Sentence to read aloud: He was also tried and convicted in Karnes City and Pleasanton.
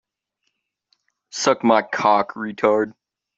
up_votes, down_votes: 1, 2